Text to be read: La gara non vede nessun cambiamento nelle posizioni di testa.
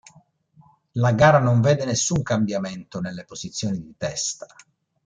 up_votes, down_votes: 2, 0